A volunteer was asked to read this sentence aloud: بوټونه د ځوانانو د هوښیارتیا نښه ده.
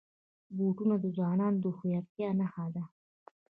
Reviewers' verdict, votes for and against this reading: rejected, 1, 2